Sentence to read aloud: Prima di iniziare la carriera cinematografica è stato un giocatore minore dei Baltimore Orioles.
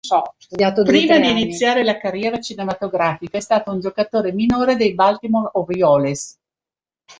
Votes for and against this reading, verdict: 1, 2, rejected